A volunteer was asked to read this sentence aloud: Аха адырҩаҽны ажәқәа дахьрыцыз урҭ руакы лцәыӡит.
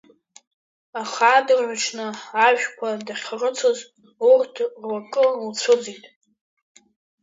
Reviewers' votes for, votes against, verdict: 2, 1, accepted